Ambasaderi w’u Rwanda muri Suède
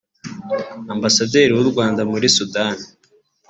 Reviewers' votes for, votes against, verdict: 2, 1, accepted